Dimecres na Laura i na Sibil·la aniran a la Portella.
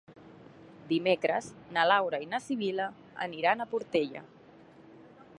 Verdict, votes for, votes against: rejected, 1, 2